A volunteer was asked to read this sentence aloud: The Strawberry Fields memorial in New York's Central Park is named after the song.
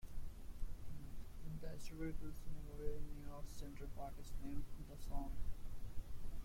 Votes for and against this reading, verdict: 1, 2, rejected